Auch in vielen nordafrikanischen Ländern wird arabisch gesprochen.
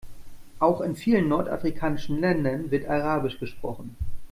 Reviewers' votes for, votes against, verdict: 2, 0, accepted